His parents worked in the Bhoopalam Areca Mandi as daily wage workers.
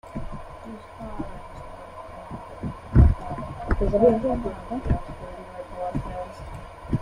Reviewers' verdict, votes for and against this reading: rejected, 0, 2